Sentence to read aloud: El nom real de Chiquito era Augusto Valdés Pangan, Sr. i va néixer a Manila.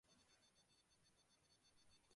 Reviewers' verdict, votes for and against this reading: rejected, 0, 2